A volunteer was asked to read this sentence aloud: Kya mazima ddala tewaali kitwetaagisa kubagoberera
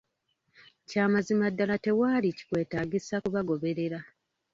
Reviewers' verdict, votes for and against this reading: rejected, 1, 2